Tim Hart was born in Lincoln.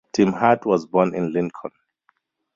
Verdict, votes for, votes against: rejected, 2, 2